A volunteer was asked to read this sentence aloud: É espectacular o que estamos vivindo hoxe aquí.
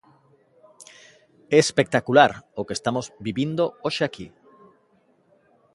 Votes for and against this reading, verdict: 2, 0, accepted